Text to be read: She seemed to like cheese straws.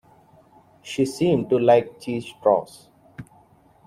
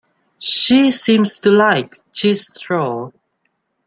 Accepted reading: first